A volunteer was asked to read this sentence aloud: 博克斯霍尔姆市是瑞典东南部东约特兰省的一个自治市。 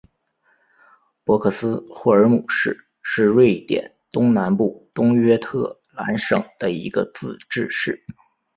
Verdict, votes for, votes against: accepted, 5, 1